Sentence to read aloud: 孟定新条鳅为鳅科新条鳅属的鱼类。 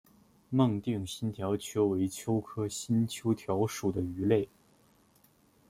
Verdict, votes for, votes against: rejected, 0, 2